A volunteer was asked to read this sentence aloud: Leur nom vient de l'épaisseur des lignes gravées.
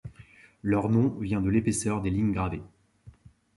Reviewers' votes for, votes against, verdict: 2, 1, accepted